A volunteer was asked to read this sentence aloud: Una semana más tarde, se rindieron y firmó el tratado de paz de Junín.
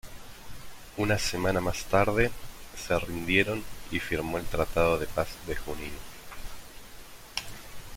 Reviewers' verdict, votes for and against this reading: accepted, 2, 0